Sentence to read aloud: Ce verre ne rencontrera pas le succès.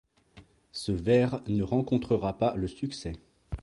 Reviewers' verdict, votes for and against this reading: accepted, 2, 0